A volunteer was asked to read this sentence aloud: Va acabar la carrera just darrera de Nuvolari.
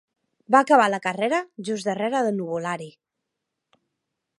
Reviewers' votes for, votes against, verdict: 2, 1, accepted